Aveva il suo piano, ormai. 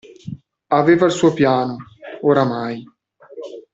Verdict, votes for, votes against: rejected, 0, 2